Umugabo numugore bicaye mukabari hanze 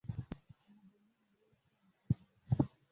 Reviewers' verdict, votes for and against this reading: rejected, 0, 2